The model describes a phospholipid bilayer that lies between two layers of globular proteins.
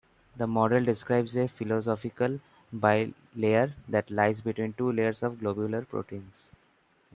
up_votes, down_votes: 1, 2